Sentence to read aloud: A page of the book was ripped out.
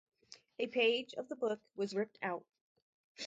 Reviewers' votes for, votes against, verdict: 2, 2, rejected